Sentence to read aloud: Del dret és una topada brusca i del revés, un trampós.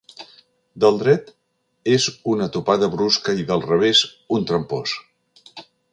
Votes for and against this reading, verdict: 4, 0, accepted